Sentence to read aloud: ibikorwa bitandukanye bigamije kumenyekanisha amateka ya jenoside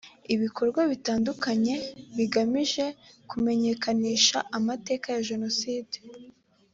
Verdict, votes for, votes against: accepted, 2, 0